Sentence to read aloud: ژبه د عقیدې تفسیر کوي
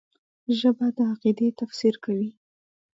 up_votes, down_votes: 1, 2